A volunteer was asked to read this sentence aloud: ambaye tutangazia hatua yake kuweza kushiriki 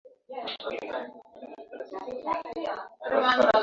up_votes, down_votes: 1, 2